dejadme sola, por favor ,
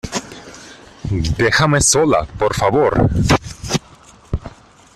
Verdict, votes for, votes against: rejected, 0, 2